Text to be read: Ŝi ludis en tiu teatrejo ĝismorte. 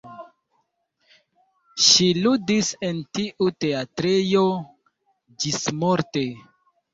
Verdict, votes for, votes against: accepted, 2, 0